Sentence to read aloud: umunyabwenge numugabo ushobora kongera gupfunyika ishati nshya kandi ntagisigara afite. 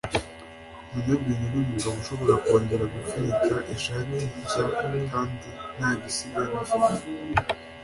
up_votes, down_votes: 2, 0